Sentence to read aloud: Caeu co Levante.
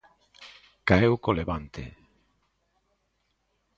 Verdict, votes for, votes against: accepted, 2, 0